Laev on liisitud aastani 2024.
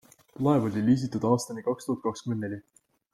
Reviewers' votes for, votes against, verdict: 0, 2, rejected